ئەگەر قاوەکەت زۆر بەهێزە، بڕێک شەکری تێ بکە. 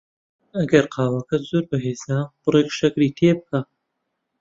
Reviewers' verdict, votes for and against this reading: accepted, 2, 0